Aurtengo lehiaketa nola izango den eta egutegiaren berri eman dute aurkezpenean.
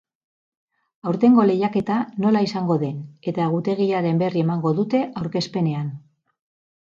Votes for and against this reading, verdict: 0, 4, rejected